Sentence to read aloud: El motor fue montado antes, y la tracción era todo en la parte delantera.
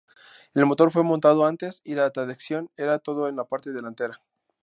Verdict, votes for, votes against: rejected, 0, 2